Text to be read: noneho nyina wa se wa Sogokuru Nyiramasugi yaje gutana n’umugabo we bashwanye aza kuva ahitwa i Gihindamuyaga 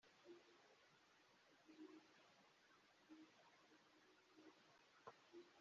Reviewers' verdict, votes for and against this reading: rejected, 0, 2